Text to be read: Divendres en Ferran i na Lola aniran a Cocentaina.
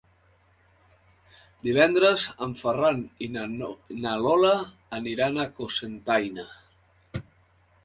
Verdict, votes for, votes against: rejected, 0, 2